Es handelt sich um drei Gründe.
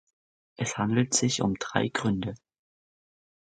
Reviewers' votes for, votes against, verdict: 4, 0, accepted